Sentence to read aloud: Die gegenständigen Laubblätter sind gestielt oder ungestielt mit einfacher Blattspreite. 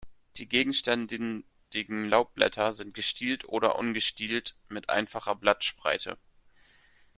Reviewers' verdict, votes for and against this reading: rejected, 0, 2